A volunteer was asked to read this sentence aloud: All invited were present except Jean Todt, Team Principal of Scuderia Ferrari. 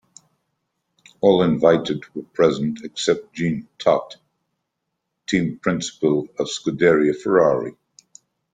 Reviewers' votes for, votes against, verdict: 1, 2, rejected